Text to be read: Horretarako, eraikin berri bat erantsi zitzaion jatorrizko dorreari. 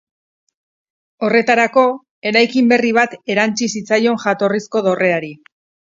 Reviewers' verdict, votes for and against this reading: accepted, 4, 0